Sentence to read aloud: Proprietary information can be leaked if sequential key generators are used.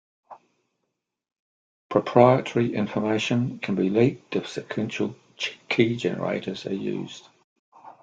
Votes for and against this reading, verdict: 1, 2, rejected